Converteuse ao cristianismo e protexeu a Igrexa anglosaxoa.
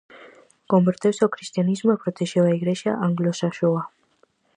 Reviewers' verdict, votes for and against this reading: accepted, 4, 0